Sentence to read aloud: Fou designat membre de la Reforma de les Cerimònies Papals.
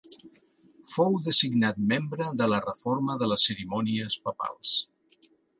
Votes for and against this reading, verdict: 2, 0, accepted